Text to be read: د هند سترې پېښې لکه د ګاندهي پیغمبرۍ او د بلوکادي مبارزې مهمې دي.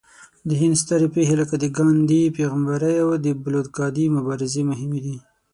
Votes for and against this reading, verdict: 6, 0, accepted